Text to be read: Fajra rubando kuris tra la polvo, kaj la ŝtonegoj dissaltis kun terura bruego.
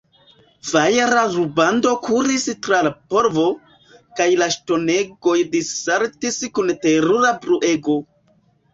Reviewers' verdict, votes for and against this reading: rejected, 1, 2